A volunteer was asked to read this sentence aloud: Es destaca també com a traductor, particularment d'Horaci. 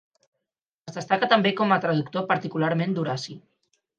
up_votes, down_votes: 4, 0